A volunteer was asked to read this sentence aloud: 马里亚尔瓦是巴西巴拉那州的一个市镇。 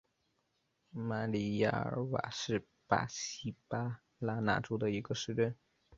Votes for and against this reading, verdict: 0, 3, rejected